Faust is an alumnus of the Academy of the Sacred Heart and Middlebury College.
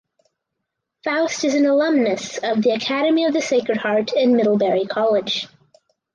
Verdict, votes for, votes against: accepted, 4, 0